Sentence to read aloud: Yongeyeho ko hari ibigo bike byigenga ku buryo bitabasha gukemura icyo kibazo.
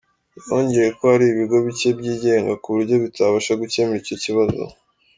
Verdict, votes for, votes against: accepted, 2, 1